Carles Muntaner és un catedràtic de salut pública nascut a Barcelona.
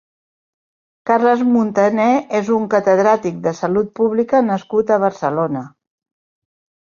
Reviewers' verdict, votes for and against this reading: accepted, 3, 0